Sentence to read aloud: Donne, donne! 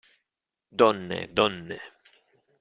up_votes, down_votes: 2, 0